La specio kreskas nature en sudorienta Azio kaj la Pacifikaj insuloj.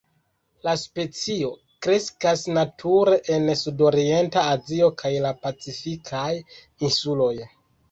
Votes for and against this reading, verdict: 2, 0, accepted